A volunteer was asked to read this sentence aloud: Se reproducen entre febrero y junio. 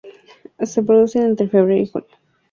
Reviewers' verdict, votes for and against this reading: rejected, 0, 2